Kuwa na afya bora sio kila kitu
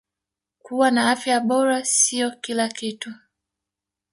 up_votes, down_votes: 4, 1